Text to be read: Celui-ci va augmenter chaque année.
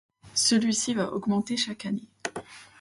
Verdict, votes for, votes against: accepted, 2, 1